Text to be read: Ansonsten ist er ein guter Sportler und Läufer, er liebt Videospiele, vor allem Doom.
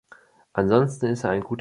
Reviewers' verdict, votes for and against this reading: rejected, 0, 2